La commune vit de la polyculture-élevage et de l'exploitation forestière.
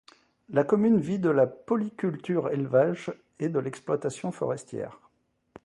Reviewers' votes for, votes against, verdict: 2, 0, accepted